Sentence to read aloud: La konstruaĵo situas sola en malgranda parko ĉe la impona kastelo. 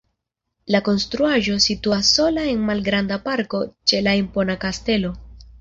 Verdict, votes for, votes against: rejected, 1, 2